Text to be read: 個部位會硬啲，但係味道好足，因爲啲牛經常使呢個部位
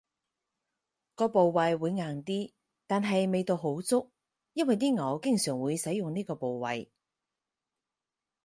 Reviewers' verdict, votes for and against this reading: accepted, 4, 0